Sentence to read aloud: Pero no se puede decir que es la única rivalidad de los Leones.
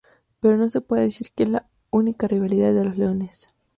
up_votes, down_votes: 2, 0